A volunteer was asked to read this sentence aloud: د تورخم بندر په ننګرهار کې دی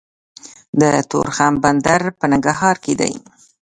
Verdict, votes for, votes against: accepted, 2, 1